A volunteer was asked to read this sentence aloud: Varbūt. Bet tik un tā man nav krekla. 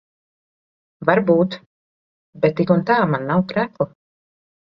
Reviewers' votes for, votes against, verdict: 2, 0, accepted